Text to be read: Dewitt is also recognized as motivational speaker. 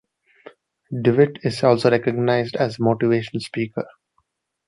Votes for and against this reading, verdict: 2, 0, accepted